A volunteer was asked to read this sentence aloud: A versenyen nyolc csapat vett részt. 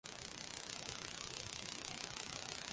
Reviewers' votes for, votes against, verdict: 0, 2, rejected